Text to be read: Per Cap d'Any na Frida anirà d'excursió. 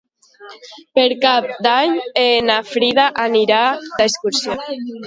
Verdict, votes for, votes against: rejected, 0, 2